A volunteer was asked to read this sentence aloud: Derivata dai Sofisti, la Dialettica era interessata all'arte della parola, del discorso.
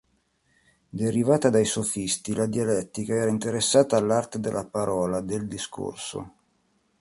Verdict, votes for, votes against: accepted, 2, 0